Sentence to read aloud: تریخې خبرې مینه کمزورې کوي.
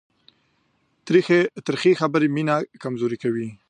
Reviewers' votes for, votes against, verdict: 0, 2, rejected